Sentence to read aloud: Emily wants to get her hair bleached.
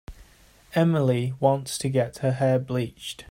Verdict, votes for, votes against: accepted, 2, 0